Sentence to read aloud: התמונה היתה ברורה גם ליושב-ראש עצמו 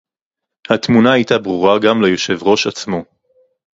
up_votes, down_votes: 2, 0